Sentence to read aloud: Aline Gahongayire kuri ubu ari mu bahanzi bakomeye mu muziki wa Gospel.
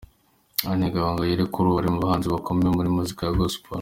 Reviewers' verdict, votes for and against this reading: accepted, 2, 0